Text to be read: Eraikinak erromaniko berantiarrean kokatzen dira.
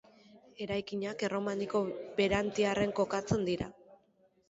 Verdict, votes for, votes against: rejected, 1, 2